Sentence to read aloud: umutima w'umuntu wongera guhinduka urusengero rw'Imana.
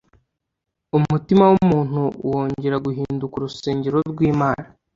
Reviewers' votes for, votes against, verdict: 2, 0, accepted